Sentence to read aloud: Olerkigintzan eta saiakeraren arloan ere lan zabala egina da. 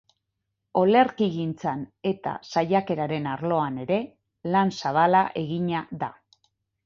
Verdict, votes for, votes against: rejected, 0, 4